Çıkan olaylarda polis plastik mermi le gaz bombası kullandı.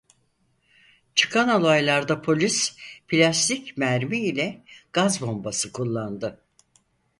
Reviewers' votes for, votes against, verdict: 0, 4, rejected